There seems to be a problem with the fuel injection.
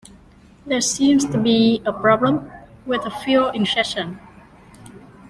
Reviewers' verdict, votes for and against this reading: rejected, 0, 2